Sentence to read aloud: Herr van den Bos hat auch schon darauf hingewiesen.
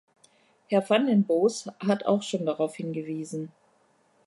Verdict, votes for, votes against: accepted, 2, 0